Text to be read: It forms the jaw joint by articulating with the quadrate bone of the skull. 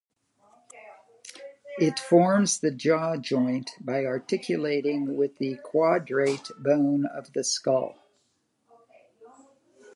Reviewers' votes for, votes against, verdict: 0, 2, rejected